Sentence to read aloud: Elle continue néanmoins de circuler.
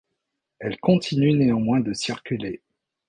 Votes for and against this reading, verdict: 2, 0, accepted